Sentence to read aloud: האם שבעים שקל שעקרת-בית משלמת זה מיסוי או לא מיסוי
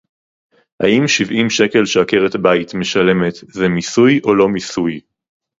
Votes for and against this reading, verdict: 2, 0, accepted